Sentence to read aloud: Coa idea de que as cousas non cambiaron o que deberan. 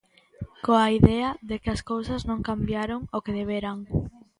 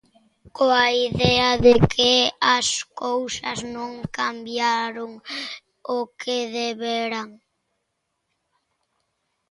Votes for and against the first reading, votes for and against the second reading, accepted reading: 2, 0, 0, 2, first